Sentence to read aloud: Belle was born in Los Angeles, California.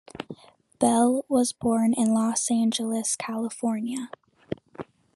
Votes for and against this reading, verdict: 2, 0, accepted